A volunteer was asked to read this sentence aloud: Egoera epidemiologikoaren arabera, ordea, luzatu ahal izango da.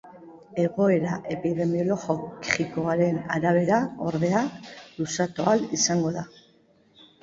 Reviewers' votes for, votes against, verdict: 0, 2, rejected